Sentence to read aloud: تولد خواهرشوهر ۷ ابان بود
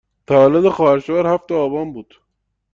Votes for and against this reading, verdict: 0, 2, rejected